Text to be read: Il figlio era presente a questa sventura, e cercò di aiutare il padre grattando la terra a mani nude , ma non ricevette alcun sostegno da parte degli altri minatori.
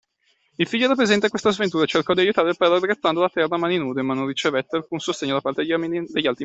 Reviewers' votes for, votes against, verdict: 0, 2, rejected